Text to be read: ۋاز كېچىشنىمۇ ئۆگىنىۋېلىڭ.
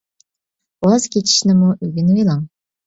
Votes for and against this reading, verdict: 2, 0, accepted